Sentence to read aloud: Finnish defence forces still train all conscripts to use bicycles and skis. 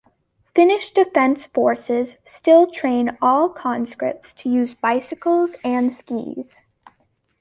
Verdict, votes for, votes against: accepted, 2, 0